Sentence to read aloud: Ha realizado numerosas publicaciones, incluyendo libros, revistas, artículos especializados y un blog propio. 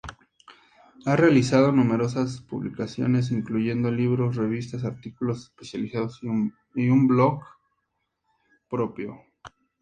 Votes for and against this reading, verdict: 2, 0, accepted